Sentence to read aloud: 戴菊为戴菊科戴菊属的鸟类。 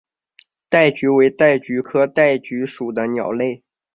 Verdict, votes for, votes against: accepted, 3, 0